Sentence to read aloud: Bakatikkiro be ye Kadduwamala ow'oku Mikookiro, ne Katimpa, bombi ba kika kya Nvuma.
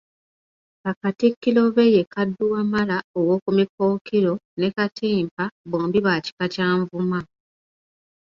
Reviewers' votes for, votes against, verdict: 2, 0, accepted